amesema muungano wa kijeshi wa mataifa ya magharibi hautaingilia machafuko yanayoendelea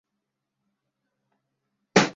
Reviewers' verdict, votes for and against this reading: rejected, 0, 2